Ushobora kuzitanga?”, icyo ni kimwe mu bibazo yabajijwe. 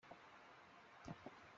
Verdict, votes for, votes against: rejected, 0, 3